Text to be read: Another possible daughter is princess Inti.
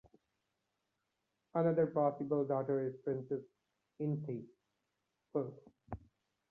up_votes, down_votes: 0, 2